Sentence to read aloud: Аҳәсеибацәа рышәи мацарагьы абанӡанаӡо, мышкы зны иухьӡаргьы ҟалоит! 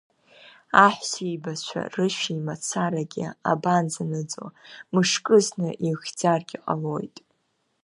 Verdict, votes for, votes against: rejected, 0, 2